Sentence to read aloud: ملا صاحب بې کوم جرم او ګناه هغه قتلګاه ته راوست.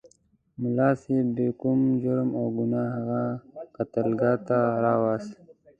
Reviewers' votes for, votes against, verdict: 2, 0, accepted